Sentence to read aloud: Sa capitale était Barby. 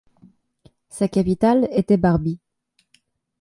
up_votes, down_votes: 2, 0